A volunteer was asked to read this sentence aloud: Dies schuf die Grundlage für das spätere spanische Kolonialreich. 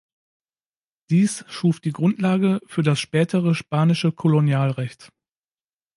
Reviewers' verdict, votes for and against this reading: rejected, 0, 2